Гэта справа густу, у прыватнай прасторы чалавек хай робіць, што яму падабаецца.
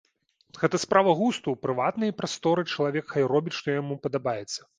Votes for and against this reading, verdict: 2, 0, accepted